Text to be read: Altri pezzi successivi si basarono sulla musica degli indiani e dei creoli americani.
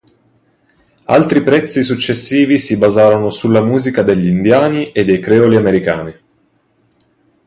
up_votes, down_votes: 0, 2